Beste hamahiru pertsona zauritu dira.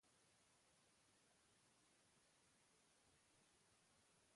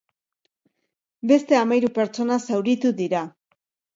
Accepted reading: second